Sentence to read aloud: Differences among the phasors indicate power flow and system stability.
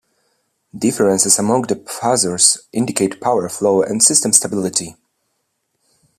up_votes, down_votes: 0, 2